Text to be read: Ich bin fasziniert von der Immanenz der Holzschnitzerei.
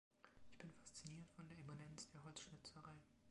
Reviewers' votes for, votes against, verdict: 2, 0, accepted